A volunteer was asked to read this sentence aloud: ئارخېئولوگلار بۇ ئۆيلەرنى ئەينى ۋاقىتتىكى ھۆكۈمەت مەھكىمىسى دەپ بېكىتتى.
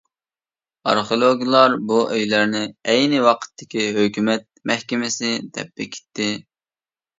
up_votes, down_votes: 2, 0